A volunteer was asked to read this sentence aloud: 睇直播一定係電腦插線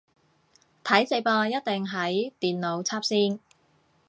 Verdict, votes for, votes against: rejected, 0, 2